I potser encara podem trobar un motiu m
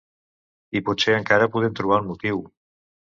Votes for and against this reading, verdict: 1, 2, rejected